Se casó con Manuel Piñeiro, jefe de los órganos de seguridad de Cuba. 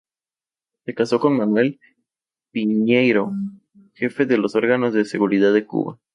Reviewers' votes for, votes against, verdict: 2, 0, accepted